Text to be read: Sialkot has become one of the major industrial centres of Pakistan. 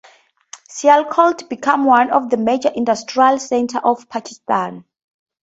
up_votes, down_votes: 2, 2